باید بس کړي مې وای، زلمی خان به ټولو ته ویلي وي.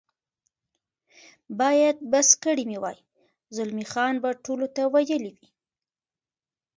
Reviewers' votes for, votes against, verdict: 0, 2, rejected